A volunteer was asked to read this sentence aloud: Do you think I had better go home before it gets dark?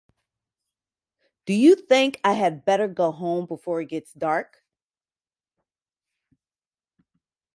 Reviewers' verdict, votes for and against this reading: accepted, 4, 0